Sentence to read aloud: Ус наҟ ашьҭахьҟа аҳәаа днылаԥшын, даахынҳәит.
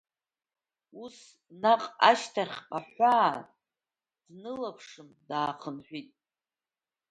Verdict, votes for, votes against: accepted, 2, 1